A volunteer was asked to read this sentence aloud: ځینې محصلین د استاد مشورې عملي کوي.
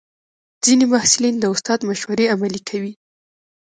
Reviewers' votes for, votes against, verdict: 1, 2, rejected